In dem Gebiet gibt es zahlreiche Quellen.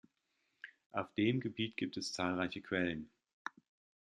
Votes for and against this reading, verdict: 0, 2, rejected